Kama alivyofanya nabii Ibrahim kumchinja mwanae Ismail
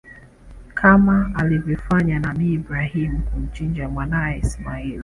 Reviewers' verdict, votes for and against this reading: accepted, 2, 0